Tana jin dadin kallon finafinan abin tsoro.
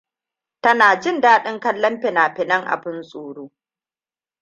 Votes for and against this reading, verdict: 2, 1, accepted